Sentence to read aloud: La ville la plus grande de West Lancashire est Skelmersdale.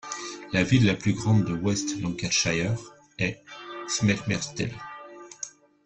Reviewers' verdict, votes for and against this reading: rejected, 0, 2